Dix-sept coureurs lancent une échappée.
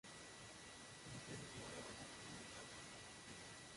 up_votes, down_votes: 0, 2